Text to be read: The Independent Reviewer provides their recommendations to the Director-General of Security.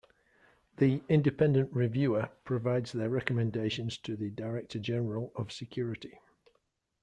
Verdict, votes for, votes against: accepted, 2, 0